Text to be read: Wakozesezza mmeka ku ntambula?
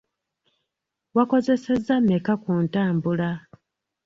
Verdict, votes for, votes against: rejected, 0, 2